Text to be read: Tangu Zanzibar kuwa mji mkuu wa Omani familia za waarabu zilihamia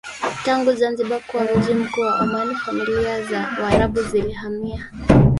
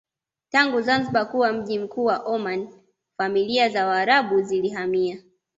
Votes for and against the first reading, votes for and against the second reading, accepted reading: 1, 2, 2, 0, second